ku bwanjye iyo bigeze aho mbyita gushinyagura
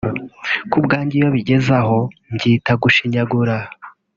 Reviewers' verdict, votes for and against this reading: accepted, 2, 0